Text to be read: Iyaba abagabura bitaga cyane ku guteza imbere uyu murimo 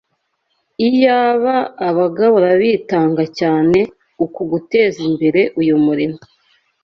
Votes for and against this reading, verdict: 0, 2, rejected